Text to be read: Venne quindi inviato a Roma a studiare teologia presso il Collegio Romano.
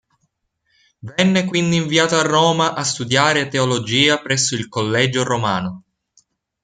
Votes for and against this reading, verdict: 2, 1, accepted